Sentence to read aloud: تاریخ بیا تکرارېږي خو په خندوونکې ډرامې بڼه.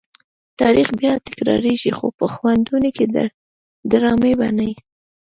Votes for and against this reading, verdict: 0, 2, rejected